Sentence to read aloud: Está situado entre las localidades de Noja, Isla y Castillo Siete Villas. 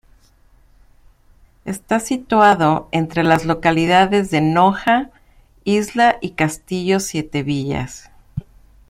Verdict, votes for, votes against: accepted, 2, 0